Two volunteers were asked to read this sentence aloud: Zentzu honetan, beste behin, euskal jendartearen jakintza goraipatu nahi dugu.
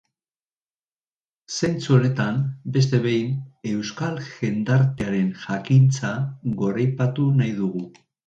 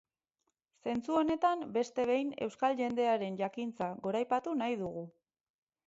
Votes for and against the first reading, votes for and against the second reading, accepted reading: 2, 0, 2, 4, first